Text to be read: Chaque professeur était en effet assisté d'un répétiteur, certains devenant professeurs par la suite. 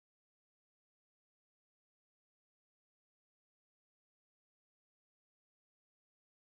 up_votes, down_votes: 0, 2